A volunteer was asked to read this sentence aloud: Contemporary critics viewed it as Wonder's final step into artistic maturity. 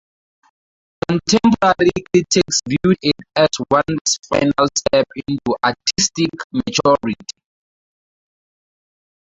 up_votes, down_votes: 0, 6